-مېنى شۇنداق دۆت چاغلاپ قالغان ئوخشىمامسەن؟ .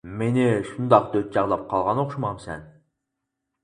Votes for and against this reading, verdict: 4, 0, accepted